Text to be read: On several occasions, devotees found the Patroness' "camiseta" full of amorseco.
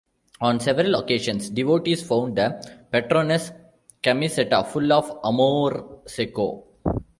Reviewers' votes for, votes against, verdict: 1, 2, rejected